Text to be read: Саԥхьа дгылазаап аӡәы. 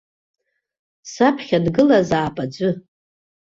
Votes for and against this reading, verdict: 2, 0, accepted